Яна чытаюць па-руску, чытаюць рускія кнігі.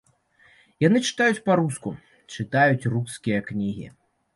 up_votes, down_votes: 2, 0